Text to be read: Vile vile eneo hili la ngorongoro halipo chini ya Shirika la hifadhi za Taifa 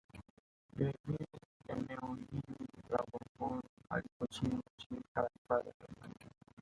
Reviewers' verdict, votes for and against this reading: rejected, 0, 2